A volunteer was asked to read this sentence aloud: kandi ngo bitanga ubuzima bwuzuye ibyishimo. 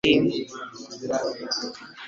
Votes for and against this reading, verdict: 1, 2, rejected